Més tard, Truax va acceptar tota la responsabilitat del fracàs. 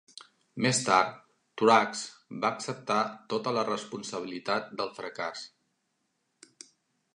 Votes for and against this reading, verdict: 2, 0, accepted